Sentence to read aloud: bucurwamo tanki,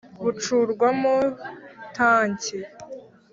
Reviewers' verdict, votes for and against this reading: accepted, 2, 0